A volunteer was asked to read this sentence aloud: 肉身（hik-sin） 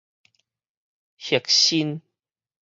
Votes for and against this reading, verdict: 4, 2, accepted